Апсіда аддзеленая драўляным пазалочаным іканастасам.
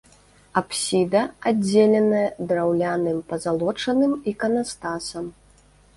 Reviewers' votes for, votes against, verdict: 2, 0, accepted